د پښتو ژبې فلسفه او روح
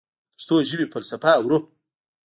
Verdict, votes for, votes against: rejected, 0, 2